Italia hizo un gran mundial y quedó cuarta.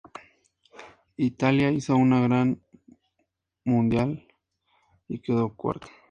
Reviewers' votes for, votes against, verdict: 0, 2, rejected